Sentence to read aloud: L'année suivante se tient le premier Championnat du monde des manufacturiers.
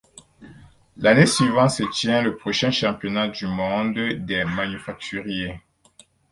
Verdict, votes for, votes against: rejected, 2, 4